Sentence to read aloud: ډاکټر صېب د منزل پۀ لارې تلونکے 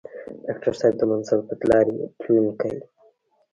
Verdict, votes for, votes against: rejected, 0, 2